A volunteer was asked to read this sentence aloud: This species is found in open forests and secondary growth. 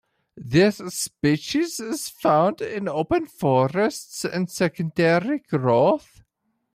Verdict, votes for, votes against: accepted, 2, 1